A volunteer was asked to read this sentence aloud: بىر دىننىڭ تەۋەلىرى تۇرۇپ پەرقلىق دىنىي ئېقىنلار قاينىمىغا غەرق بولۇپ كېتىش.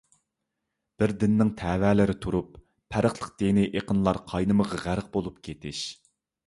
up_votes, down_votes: 2, 0